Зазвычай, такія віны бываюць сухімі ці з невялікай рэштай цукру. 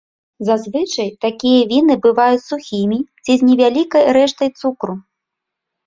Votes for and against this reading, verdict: 2, 0, accepted